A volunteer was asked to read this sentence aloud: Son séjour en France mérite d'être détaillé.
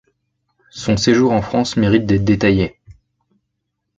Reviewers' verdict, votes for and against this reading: accepted, 2, 0